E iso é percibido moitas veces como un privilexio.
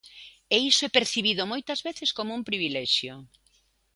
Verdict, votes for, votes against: accepted, 2, 0